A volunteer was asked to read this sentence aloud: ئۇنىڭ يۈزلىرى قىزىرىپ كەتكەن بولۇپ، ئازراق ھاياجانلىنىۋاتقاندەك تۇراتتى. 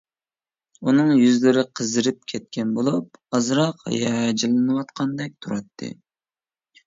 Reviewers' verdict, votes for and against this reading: rejected, 1, 2